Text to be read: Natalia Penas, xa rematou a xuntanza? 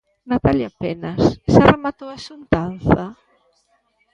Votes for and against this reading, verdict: 2, 0, accepted